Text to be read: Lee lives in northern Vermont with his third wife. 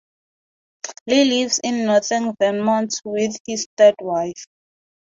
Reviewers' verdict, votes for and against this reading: accepted, 4, 0